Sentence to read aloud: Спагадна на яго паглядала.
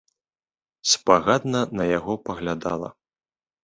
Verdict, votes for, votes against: accepted, 2, 0